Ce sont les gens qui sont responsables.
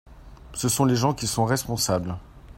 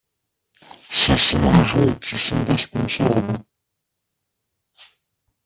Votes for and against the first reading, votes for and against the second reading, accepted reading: 2, 0, 1, 2, first